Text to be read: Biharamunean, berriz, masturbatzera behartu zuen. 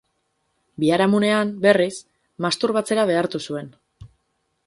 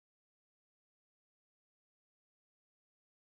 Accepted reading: first